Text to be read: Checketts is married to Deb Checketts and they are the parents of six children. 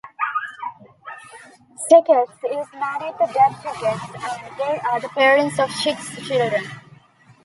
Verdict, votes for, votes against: rejected, 0, 2